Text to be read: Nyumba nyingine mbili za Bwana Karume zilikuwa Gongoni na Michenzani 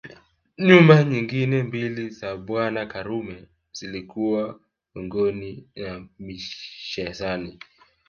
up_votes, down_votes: 1, 2